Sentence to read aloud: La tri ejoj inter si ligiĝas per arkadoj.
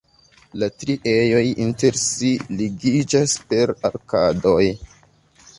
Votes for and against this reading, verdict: 3, 0, accepted